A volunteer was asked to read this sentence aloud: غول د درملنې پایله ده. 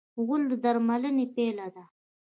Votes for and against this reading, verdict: 1, 2, rejected